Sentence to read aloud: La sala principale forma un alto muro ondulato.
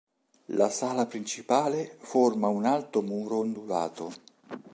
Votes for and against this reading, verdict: 3, 0, accepted